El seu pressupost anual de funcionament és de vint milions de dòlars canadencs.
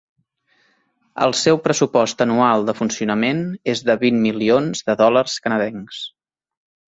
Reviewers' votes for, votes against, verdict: 2, 0, accepted